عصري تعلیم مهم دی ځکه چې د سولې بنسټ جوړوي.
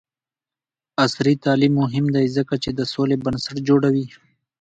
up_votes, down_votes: 2, 0